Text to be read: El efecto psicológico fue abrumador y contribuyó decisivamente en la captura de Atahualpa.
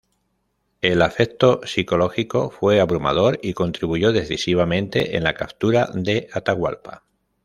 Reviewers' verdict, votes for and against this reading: rejected, 1, 2